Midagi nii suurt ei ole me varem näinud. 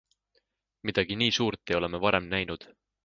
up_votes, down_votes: 2, 0